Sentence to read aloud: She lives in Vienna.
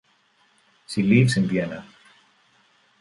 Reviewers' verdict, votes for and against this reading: accepted, 2, 0